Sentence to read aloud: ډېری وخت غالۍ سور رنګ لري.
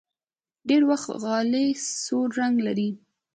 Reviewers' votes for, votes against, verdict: 2, 1, accepted